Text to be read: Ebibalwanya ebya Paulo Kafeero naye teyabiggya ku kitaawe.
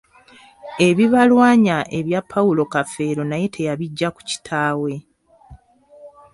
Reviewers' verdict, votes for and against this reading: accepted, 2, 1